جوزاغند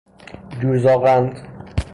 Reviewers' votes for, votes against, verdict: 3, 0, accepted